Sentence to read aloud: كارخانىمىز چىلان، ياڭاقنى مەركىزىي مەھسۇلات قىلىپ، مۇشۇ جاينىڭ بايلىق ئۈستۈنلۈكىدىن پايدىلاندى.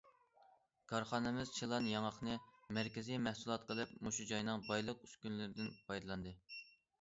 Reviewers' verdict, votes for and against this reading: rejected, 1, 2